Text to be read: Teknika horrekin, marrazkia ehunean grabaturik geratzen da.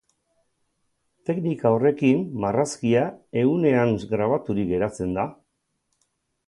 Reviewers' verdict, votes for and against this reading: accepted, 4, 2